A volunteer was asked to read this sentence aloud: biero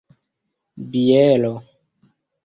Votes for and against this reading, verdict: 2, 1, accepted